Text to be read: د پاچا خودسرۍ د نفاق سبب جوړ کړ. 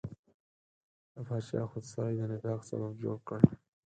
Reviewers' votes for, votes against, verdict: 0, 4, rejected